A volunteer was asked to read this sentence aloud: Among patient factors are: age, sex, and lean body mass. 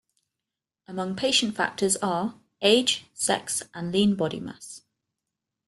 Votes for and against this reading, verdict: 2, 0, accepted